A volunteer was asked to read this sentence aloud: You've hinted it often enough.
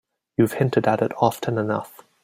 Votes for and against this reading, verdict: 2, 3, rejected